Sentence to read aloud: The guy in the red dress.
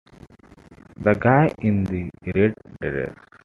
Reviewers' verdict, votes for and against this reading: rejected, 1, 2